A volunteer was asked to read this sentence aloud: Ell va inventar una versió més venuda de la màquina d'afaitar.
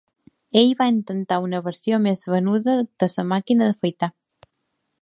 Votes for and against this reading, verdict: 2, 0, accepted